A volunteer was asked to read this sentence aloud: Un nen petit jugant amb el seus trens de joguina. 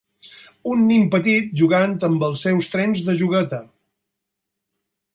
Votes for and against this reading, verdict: 0, 4, rejected